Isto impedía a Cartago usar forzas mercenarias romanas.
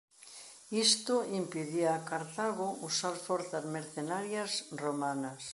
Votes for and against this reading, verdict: 2, 1, accepted